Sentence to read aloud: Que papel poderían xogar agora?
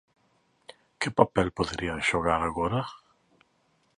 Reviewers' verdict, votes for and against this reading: accepted, 2, 0